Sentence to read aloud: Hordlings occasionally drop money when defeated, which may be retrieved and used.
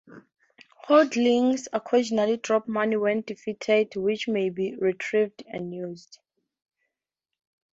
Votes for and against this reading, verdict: 2, 0, accepted